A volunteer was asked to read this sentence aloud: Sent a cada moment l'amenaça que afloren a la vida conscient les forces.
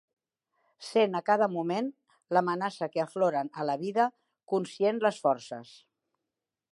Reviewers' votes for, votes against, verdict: 3, 0, accepted